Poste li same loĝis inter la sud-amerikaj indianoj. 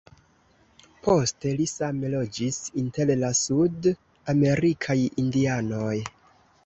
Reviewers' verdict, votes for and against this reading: rejected, 0, 2